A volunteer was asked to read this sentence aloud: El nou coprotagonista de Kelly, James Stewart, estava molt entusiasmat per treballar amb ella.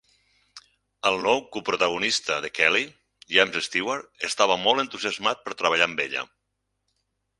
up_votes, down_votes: 6, 0